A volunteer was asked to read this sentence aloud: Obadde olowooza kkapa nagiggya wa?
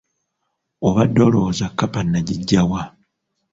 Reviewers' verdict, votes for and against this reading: accepted, 2, 0